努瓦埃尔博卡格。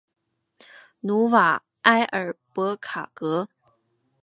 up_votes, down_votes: 2, 0